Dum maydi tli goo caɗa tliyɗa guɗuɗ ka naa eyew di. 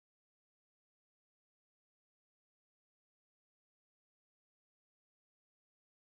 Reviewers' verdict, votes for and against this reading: rejected, 1, 2